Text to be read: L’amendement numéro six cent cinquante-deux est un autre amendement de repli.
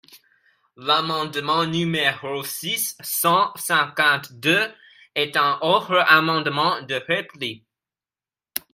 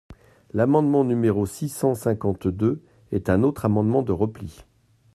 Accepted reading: second